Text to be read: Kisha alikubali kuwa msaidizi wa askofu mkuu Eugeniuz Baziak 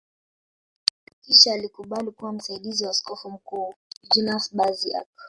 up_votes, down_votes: 1, 2